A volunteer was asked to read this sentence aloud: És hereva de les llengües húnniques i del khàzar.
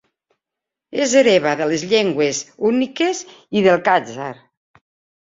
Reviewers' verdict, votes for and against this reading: rejected, 1, 2